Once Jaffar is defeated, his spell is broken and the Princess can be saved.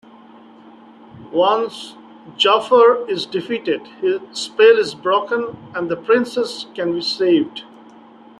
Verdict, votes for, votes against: accepted, 2, 0